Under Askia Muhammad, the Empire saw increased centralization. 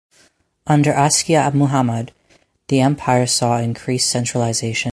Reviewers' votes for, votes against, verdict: 4, 0, accepted